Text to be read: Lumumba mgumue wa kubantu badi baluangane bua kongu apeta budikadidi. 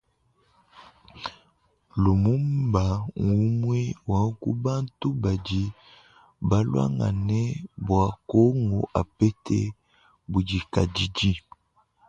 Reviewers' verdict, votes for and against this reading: rejected, 1, 2